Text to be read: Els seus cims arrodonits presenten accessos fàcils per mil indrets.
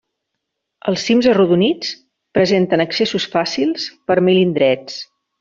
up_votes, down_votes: 0, 2